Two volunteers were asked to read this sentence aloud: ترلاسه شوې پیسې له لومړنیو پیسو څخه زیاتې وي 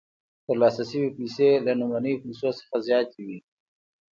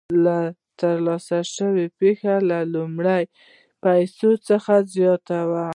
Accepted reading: first